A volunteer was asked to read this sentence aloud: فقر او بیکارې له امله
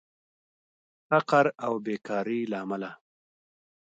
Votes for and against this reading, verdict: 2, 0, accepted